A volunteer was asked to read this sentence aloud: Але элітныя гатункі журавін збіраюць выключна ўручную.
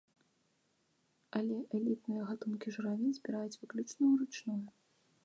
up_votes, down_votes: 2, 1